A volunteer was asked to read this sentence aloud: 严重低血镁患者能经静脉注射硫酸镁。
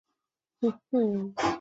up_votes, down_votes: 0, 2